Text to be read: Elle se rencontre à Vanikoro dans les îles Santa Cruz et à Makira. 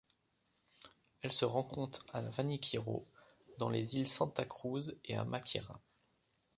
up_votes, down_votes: 0, 2